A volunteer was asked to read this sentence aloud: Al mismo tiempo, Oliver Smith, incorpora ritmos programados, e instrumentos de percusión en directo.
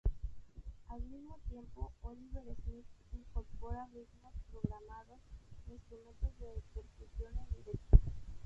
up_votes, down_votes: 0, 4